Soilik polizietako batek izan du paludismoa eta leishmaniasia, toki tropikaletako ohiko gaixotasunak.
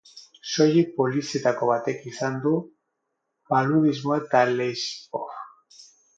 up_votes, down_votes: 0, 6